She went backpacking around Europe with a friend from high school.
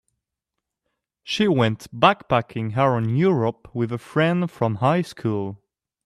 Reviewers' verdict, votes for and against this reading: accepted, 2, 0